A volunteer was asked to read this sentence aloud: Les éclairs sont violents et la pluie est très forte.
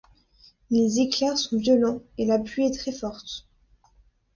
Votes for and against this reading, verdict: 2, 0, accepted